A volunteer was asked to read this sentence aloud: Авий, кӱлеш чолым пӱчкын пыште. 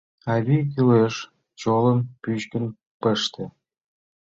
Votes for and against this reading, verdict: 2, 1, accepted